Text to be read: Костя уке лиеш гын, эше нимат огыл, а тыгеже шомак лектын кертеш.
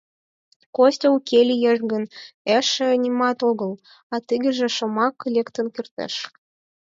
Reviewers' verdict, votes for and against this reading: accepted, 4, 0